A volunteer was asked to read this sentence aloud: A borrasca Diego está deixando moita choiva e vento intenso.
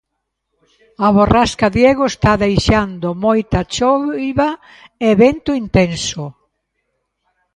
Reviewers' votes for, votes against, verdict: 0, 2, rejected